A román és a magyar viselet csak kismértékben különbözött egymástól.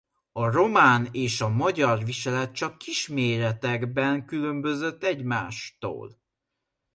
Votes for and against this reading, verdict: 0, 2, rejected